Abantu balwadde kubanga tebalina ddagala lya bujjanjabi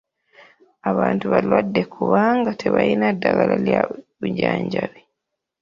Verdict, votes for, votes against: rejected, 0, 2